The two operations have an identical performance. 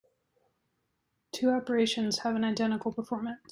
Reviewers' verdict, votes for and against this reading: rejected, 0, 2